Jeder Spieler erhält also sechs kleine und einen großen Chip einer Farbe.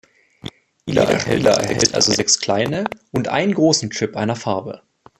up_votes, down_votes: 1, 3